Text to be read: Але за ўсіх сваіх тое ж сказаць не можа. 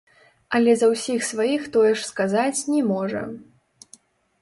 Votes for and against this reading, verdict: 0, 2, rejected